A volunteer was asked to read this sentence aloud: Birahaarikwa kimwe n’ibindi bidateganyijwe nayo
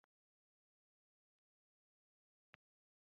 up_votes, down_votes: 0, 2